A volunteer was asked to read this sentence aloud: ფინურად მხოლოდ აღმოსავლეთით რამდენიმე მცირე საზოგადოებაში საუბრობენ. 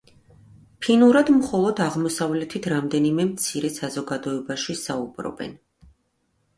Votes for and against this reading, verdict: 2, 0, accepted